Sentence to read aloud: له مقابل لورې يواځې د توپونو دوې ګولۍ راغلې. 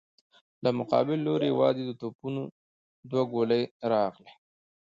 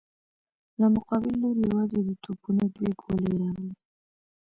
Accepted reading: first